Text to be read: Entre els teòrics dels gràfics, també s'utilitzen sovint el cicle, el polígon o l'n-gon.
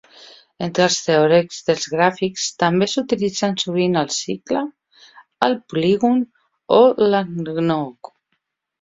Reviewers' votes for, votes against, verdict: 1, 2, rejected